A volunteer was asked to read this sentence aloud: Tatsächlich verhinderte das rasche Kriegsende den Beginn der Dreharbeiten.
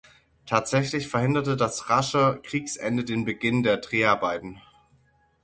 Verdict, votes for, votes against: accepted, 6, 0